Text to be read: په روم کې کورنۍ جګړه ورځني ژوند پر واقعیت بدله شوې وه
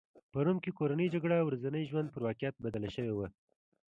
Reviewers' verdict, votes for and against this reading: accepted, 2, 0